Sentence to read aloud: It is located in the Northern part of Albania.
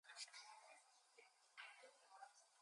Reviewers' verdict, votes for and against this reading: rejected, 0, 2